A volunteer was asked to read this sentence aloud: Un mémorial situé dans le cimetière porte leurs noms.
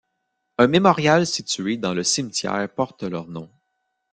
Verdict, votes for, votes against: accepted, 2, 0